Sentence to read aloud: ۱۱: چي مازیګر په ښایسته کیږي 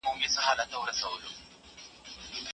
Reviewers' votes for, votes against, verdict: 0, 2, rejected